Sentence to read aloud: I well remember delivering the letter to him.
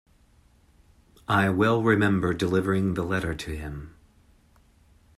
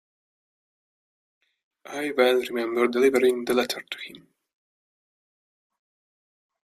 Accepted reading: first